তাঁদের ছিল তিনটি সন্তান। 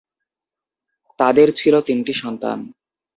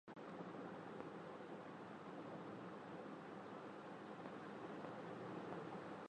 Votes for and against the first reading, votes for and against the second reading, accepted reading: 2, 0, 0, 2, first